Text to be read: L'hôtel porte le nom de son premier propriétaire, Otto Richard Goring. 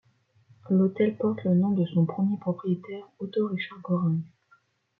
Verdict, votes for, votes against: accepted, 2, 0